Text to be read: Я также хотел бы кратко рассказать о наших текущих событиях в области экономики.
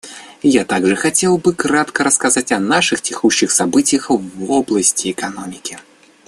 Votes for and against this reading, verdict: 0, 2, rejected